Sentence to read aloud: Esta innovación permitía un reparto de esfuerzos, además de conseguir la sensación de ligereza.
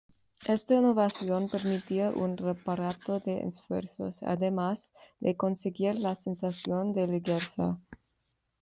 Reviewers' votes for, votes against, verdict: 1, 2, rejected